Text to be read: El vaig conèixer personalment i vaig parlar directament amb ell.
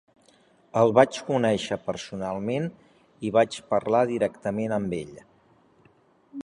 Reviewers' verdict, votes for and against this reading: accepted, 2, 0